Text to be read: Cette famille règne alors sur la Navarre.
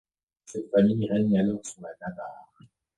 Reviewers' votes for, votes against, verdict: 1, 2, rejected